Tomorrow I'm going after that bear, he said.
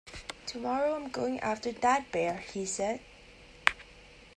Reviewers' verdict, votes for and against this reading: accepted, 2, 0